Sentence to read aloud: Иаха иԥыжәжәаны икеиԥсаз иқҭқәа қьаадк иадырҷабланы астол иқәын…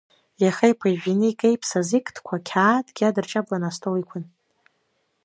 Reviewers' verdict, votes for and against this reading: rejected, 0, 2